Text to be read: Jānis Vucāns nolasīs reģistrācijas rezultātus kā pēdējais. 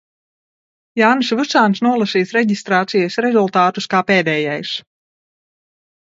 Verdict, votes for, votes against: rejected, 1, 2